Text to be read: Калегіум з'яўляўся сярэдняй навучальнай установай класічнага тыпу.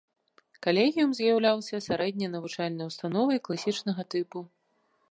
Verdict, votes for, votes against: accepted, 2, 0